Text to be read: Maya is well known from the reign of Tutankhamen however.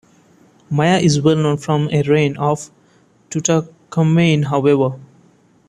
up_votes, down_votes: 2, 1